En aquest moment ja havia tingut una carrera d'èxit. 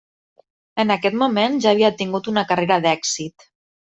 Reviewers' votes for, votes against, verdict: 3, 0, accepted